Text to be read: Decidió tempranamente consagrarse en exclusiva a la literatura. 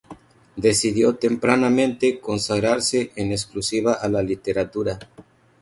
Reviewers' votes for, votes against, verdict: 2, 0, accepted